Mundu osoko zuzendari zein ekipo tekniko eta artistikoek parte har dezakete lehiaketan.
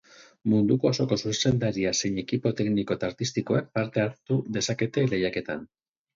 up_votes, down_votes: 0, 4